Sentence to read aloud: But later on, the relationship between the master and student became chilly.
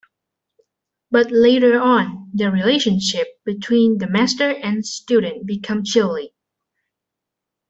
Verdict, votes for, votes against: rejected, 2, 3